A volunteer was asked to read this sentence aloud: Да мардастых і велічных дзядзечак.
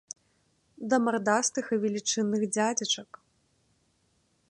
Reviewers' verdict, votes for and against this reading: rejected, 0, 2